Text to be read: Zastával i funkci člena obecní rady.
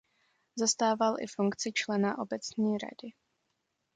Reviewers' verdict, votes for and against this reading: accepted, 2, 0